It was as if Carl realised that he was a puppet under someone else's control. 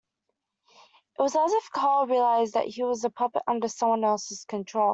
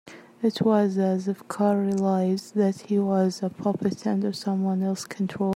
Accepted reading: first